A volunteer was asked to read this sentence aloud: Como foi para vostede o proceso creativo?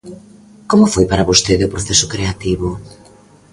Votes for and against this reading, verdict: 2, 0, accepted